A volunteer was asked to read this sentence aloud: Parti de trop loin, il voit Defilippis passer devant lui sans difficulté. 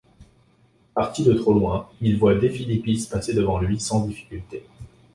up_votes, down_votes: 3, 0